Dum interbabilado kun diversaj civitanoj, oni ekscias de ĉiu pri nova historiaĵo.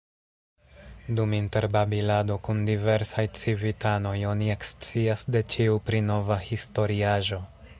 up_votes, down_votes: 1, 2